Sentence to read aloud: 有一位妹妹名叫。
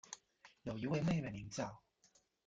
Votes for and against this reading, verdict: 1, 2, rejected